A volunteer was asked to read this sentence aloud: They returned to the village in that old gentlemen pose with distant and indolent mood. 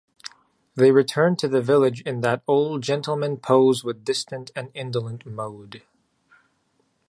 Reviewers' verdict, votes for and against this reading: rejected, 1, 2